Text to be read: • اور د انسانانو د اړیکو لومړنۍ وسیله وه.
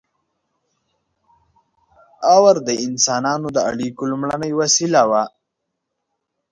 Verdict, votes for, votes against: rejected, 1, 2